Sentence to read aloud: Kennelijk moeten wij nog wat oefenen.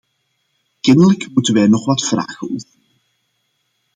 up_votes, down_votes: 0, 2